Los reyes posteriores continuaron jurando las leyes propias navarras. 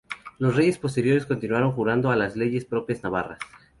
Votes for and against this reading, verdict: 0, 2, rejected